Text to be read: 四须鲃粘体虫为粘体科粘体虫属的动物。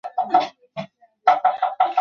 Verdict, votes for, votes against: rejected, 0, 3